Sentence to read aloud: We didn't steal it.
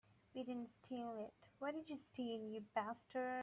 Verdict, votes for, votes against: rejected, 0, 2